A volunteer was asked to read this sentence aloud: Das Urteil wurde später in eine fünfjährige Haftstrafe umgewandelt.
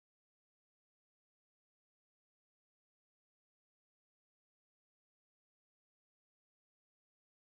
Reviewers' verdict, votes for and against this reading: rejected, 0, 2